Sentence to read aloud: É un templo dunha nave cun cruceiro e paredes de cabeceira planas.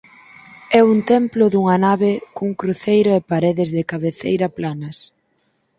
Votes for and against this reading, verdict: 6, 0, accepted